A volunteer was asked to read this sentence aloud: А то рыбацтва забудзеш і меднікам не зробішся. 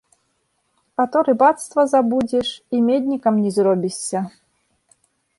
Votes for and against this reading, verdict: 2, 0, accepted